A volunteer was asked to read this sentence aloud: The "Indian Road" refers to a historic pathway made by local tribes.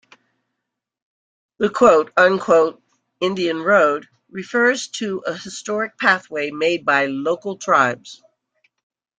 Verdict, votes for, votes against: rejected, 1, 2